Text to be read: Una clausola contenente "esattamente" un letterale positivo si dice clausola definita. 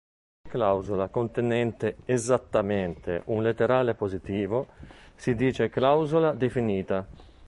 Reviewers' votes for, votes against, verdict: 0, 3, rejected